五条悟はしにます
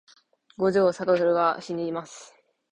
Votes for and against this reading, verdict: 4, 0, accepted